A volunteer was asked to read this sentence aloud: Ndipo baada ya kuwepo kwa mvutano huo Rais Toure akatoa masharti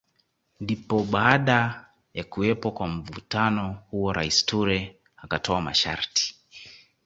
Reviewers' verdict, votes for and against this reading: accepted, 2, 0